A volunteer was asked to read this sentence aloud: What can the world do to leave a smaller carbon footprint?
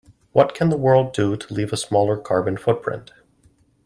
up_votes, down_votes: 2, 0